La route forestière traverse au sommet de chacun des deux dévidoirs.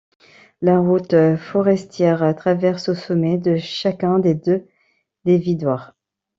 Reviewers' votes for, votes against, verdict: 0, 2, rejected